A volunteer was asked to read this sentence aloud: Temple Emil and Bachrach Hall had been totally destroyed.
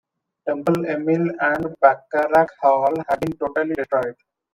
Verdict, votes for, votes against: rejected, 0, 2